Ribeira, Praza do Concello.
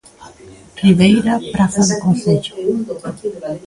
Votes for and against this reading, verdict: 2, 0, accepted